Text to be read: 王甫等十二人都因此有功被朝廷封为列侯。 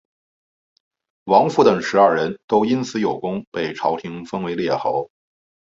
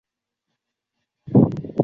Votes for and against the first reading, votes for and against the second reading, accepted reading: 6, 0, 0, 2, first